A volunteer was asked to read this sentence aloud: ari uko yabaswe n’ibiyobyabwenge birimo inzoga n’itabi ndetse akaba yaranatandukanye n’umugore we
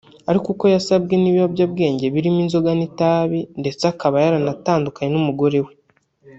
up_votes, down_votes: 1, 2